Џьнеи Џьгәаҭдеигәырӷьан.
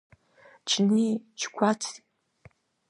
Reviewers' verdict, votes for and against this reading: rejected, 0, 2